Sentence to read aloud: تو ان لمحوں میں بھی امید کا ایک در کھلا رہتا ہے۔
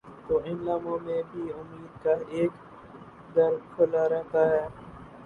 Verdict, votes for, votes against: rejected, 0, 2